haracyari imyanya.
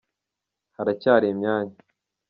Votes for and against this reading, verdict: 2, 0, accepted